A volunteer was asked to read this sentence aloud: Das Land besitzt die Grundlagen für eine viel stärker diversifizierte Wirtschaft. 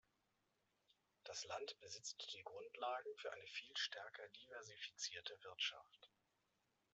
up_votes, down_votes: 2, 0